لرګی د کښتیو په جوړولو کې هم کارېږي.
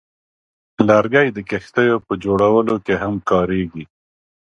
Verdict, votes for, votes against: accepted, 4, 0